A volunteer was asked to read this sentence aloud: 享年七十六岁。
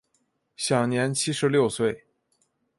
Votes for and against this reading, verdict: 2, 0, accepted